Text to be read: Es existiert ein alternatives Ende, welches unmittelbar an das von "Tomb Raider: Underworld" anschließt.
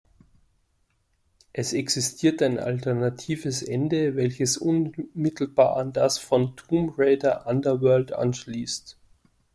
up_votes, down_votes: 1, 2